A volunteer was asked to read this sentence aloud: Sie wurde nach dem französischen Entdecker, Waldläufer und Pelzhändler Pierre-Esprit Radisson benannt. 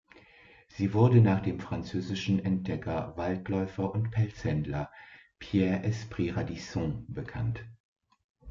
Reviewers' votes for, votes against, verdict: 1, 2, rejected